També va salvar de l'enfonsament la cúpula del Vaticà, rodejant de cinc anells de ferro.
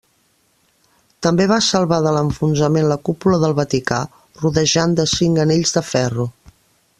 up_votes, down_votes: 3, 0